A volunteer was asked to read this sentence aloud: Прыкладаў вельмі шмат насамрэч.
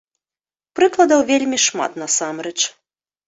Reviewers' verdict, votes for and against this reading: rejected, 1, 2